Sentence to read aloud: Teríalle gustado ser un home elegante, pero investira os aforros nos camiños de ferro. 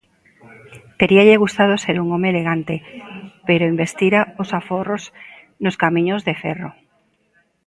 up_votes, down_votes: 2, 0